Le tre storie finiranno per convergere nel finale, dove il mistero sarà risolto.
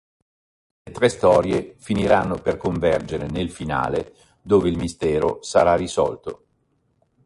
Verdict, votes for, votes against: rejected, 1, 2